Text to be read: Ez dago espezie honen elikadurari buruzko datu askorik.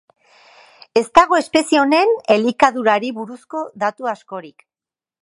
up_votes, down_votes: 4, 0